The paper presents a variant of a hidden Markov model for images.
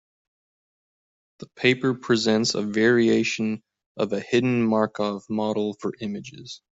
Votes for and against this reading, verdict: 0, 2, rejected